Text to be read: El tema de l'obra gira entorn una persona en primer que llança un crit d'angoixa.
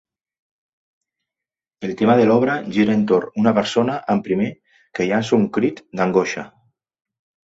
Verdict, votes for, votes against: accepted, 2, 0